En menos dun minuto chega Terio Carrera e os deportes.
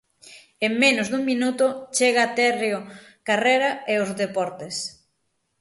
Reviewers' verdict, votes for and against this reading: rejected, 3, 6